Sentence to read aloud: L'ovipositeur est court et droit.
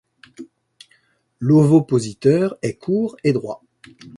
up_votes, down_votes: 0, 2